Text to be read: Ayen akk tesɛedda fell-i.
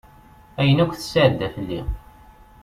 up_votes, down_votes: 2, 0